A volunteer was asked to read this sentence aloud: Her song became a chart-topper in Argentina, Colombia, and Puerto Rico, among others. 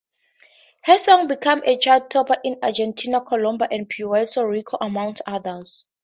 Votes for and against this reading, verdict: 4, 0, accepted